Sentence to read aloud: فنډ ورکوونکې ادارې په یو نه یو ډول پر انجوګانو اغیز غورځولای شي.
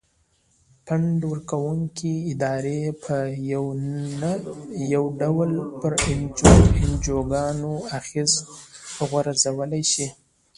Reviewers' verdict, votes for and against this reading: rejected, 1, 2